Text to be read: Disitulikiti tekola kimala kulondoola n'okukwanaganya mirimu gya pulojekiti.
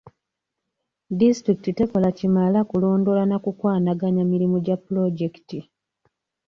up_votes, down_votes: 1, 2